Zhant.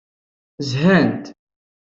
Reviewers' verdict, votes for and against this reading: accepted, 2, 0